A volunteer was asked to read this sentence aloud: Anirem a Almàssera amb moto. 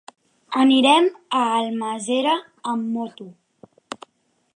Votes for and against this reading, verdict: 0, 2, rejected